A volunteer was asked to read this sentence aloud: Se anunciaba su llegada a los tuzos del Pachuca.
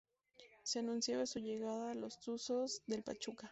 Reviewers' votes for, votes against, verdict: 0, 4, rejected